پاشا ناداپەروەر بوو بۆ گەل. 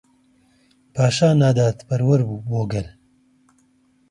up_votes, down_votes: 2, 0